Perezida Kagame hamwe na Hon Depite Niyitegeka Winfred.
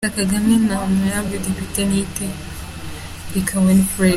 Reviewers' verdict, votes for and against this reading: accepted, 2, 0